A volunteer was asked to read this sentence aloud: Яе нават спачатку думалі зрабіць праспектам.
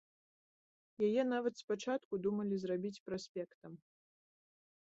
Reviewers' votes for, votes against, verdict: 1, 2, rejected